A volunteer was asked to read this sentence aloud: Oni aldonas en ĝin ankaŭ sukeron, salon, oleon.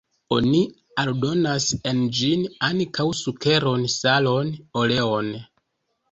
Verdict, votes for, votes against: accepted, 2, 0